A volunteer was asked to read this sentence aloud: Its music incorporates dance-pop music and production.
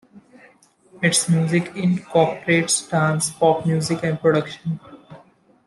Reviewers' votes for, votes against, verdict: 2, 0, accepted